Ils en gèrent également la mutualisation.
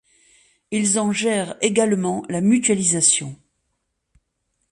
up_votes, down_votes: 2, 0